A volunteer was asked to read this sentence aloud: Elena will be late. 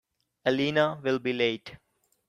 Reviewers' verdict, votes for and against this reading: accepted, 2, 0